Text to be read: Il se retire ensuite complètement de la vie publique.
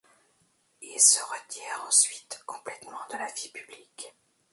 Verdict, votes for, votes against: accepted, 2, 0